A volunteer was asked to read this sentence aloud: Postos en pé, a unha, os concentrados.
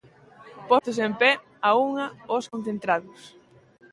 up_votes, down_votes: 2, 1